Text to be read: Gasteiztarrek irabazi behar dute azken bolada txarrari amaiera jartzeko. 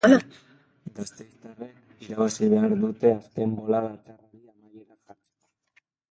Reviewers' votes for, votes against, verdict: 0, 2, rejected